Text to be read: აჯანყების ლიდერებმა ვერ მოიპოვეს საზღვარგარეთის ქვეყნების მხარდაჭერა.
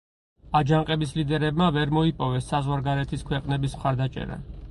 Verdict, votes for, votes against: accepted, 6, 0